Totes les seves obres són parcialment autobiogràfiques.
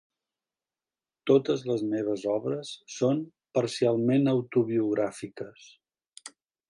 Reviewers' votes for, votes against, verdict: 1, 2, rejected